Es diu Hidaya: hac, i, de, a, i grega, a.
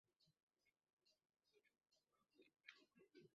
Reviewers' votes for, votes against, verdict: 1, 2, rejected